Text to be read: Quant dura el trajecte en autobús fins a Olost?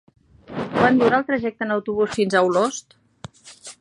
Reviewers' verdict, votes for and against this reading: rejected, 1, 2